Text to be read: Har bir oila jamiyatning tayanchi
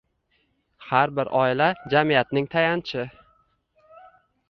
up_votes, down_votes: 0, 2